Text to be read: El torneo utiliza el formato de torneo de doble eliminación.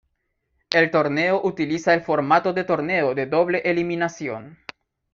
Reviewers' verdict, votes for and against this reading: rejected, 0, 2